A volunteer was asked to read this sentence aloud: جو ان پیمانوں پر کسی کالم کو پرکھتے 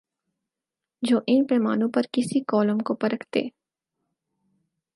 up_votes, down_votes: 4, 0